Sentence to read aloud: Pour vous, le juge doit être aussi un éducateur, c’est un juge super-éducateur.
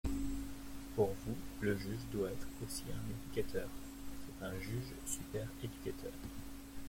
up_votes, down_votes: 1, 2